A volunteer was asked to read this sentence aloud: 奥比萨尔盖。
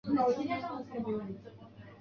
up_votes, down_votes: 1, 4